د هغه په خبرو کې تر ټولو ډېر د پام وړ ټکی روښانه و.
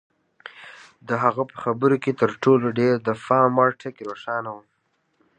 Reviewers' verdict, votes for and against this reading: accepted, 2, 0